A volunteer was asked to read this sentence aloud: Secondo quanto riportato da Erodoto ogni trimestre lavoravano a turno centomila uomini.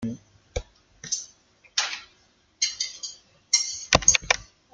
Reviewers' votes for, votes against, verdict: 0, 2, rejected